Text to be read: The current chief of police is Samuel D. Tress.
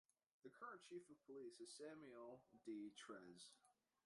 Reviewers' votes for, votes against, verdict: 0, 2, rejected